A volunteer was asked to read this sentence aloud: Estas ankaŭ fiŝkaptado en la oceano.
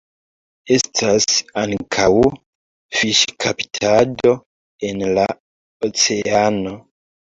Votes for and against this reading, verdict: 2, 1, accepted